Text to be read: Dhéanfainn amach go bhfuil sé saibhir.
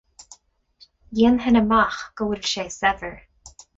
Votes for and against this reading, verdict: 4, 0, accepted